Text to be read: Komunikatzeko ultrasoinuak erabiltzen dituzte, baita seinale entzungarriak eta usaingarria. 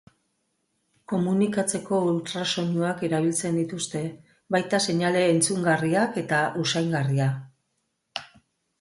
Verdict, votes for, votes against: accepted, 3, 0